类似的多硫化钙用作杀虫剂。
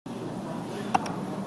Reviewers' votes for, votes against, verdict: 0, 2, rejected